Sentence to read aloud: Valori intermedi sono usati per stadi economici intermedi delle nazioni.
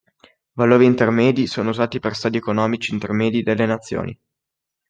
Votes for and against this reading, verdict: 2, 0, accepted